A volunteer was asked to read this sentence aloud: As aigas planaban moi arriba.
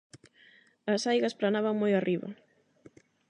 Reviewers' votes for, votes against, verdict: 8, 0, accepted